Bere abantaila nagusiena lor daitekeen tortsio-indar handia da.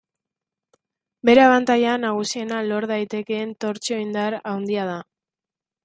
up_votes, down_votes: 2, 0